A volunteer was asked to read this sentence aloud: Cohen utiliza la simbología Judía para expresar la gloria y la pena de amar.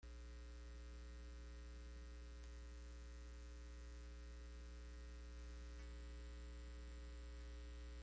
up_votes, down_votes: 0, 2